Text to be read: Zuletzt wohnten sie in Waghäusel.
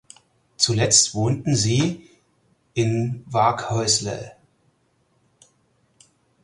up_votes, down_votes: 2, 4